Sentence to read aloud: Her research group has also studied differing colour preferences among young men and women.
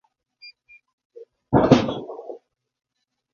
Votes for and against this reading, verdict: 1, 2, rejected